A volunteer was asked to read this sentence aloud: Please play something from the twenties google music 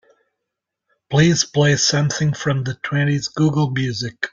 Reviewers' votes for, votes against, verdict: 2, 0, accepted